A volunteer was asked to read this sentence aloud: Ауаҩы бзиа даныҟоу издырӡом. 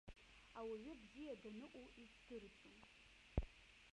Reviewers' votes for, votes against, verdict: 1, 2, rejected